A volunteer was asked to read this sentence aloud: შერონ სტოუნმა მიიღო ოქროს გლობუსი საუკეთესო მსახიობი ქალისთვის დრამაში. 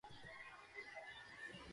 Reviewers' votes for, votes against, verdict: 0, 2, rejected